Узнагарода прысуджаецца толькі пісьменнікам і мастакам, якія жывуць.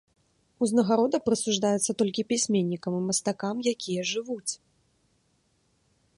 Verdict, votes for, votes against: rejected, 0, 2